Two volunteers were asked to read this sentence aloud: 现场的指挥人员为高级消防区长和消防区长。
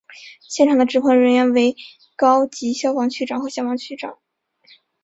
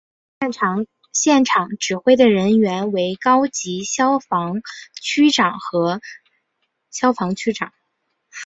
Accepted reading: first